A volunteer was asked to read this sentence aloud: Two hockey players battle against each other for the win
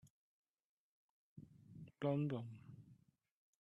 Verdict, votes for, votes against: rejected, 0, 2